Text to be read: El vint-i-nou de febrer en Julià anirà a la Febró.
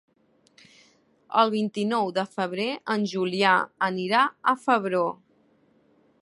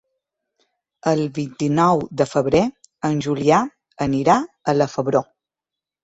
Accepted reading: second